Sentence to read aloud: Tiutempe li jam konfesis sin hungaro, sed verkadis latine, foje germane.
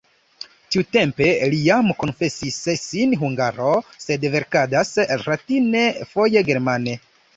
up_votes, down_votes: 0, 2